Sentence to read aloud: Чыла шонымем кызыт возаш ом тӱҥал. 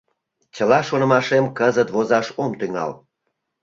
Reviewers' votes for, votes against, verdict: 1, 2, rejected